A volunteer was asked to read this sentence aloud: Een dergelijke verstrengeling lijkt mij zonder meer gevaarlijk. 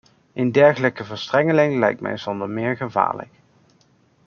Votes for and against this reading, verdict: 2, 0, accepted